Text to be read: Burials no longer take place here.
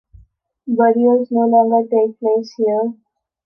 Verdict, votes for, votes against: accepted, 2, 0